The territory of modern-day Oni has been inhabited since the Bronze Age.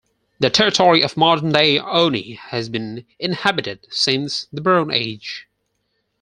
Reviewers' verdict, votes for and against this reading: accepted, 4, 0